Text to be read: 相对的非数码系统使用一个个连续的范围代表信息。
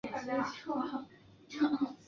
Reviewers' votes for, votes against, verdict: 2, 4, rejected